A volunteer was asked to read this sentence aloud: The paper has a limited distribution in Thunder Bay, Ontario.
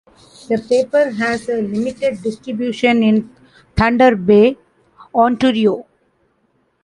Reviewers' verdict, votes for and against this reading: accepted, 2, 0